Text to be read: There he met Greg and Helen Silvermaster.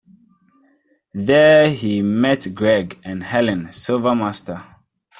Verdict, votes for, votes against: accepted, 2, 0